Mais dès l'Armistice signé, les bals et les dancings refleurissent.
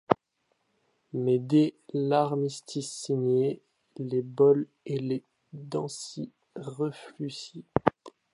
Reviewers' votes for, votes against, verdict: 2, 0, accepted